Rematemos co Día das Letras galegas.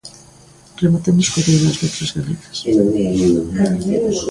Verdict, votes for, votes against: rejected, 0, 3